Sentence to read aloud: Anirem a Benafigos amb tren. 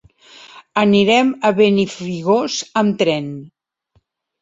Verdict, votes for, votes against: rejected, 1, 2